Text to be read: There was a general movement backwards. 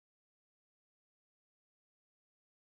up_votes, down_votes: 0, 3